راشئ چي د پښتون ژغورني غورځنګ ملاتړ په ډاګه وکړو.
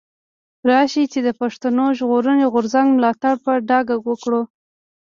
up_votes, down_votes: 2, 1